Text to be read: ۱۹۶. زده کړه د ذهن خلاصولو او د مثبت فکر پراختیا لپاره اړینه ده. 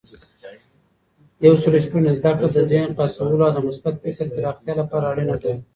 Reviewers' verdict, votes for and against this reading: rejected, 0, 2